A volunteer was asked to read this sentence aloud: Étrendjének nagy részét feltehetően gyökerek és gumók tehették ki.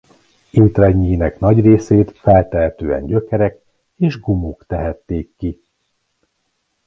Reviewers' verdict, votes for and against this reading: accepted, 2, 0